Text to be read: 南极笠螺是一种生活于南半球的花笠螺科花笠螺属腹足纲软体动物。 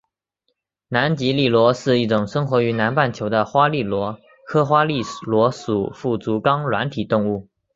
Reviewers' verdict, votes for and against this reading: accepted, 2, 0